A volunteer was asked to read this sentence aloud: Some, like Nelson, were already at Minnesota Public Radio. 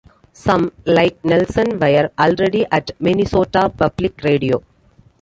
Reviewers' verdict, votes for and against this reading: rejected, 1, 2